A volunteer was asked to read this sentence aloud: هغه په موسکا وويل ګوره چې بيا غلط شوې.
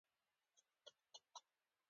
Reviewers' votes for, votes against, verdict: 2, 0, accepted